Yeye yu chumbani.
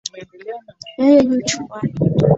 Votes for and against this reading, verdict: 2, 1, accepted